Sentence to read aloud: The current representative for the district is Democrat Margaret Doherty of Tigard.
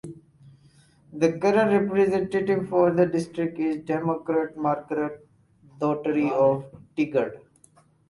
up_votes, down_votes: 0, 4